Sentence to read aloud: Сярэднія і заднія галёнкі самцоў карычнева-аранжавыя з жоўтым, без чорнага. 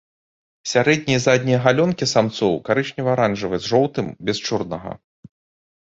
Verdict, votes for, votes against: accepted, 2, 0